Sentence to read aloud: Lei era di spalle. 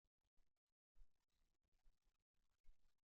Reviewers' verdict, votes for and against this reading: rejected, 0, 2